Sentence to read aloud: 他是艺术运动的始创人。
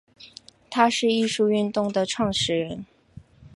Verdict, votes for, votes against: accepted, 4, 0